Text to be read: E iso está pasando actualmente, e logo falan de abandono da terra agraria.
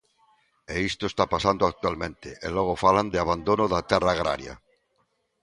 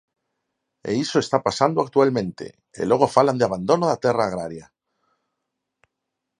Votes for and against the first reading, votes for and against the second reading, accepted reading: 0, 2, 4, 0, second